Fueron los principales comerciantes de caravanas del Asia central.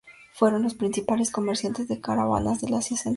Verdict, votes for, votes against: rejected, 0, 2